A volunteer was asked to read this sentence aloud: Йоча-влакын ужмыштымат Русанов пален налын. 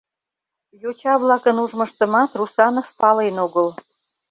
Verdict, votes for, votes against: rejected, 0, 2